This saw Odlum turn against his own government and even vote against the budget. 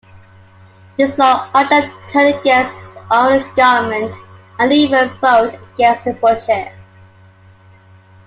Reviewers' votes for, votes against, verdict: 2, 1, accepted